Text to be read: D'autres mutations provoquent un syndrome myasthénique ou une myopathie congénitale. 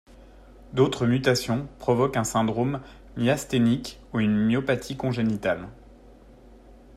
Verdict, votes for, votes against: accepted, 2, 0